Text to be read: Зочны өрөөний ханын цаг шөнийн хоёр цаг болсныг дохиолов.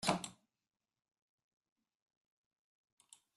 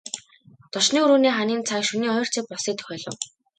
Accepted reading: second